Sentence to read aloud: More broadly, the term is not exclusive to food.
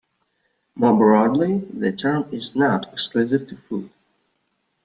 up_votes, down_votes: 2, 0